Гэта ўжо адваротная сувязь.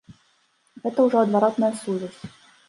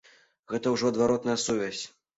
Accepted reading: second